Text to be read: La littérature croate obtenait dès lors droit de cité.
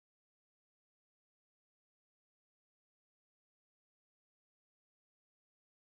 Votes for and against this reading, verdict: 0, 2, rejected